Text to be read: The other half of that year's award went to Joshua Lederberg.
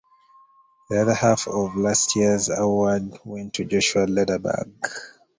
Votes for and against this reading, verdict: 0, 2, rejected